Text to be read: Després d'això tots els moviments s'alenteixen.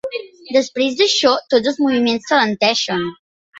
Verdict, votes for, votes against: rejected, 1, 2